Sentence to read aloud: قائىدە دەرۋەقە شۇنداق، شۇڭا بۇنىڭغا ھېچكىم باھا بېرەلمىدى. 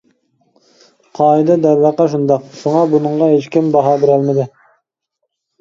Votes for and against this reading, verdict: 2, 0, accepted